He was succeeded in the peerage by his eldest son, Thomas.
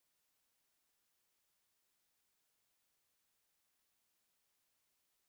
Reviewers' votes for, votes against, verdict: 0, 2, rejected